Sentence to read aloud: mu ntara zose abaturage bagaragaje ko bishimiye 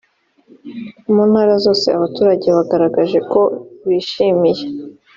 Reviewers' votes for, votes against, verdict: 4, 0, accepted